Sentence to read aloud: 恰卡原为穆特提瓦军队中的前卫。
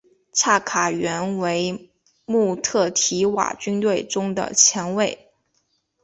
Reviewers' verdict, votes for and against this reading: accepted, 4, 0